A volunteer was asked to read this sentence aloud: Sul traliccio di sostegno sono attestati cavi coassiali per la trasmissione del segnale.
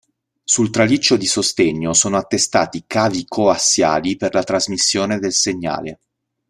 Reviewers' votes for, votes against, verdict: 2, 0, accepted